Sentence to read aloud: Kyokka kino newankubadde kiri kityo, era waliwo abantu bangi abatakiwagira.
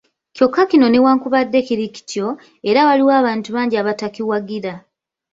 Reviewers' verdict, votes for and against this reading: rejected, 0, 2